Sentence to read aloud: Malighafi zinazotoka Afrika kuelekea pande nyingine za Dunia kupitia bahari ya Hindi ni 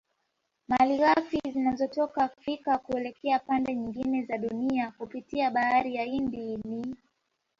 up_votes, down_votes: 2, 0